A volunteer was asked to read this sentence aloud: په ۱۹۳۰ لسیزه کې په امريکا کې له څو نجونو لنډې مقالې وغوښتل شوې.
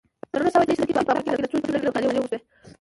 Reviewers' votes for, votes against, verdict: 0, 2, rejected